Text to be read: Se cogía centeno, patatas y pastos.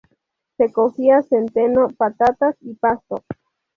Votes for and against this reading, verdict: 0, 2, rejected